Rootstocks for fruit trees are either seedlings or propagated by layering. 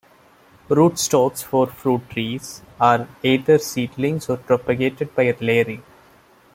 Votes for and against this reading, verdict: 2, 0, accepted